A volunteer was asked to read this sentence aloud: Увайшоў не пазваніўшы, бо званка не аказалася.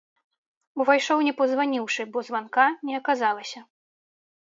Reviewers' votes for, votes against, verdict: 2, 0, accepted